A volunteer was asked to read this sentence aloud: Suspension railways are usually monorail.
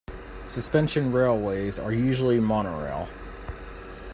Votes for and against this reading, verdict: 2, 1, accepted